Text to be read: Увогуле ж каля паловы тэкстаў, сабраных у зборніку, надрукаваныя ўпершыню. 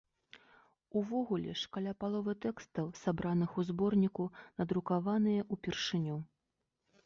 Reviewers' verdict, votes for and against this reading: rejected, 0, 2